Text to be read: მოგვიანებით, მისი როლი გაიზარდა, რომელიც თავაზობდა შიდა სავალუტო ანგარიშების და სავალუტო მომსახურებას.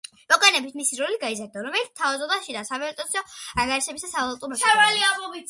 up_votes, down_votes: 1, 2